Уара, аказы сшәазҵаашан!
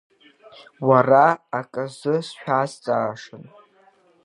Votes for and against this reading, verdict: 0, 2, rejected